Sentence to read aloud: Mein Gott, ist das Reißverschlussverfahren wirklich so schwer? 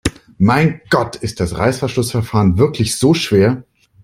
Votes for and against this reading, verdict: 2, 0, accepted